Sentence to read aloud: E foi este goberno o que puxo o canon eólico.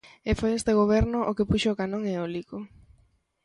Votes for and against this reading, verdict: 0, 2, rejected